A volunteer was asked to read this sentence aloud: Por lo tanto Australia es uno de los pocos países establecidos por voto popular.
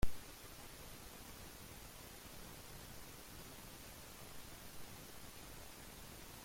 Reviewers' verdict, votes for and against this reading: rejected, 0, 2